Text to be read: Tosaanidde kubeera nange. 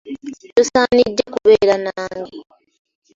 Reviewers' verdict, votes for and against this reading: rejected, 1, 2